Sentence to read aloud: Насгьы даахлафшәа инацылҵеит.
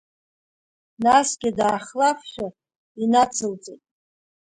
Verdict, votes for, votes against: accepted, 2, 1